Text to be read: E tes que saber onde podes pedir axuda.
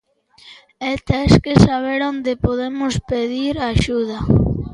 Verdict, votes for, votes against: rejected, 0, 2